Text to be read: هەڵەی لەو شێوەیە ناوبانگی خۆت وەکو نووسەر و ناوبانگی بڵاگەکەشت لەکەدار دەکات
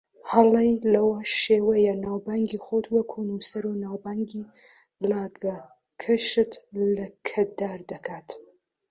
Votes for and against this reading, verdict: 0, 2, rejected